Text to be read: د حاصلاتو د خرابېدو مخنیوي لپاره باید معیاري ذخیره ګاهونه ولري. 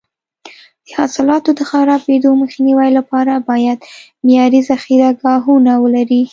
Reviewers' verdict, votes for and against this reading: accepted, 2, 0